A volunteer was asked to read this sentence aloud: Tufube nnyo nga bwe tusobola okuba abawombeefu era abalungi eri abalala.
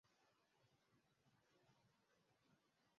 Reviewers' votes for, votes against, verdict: 0, 2, rejected